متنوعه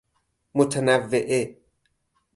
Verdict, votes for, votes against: rejected, 2, 2